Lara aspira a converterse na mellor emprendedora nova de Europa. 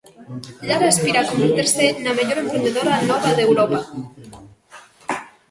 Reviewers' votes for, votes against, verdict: 0, 2, rejected